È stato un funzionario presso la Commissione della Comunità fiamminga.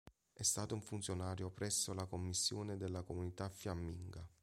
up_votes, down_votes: 3, 0